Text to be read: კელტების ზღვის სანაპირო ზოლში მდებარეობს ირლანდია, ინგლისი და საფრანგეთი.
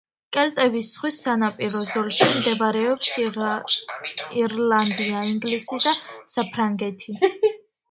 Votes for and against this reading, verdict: 0, 2, rejected